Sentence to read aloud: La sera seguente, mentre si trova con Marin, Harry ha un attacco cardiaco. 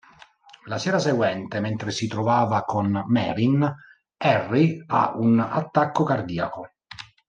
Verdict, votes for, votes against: rejected, 1, 2